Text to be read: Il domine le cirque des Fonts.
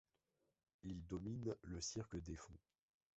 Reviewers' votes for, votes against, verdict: 0, 2, rejected